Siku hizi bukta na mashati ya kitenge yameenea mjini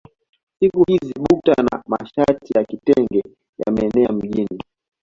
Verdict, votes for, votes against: accepted, 2, 0